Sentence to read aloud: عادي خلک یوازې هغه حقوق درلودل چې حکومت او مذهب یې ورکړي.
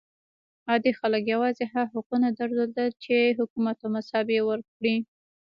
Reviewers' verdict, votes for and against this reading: rejected, 0, 2